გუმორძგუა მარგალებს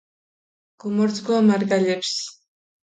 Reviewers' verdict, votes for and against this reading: accepted, 2, 0